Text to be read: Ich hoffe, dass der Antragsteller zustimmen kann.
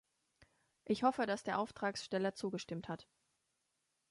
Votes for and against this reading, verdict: 0, 2, rejected